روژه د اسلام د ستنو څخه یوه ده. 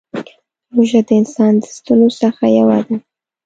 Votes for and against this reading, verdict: 1, 2, rejected